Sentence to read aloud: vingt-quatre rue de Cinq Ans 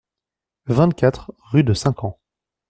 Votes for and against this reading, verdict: 2, 0, accepted